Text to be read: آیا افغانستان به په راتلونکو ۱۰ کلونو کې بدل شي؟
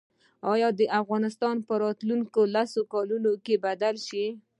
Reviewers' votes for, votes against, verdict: 0, 2, rejected